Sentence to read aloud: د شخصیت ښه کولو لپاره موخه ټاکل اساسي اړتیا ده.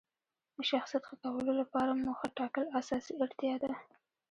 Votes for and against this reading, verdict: 1, 2, rejected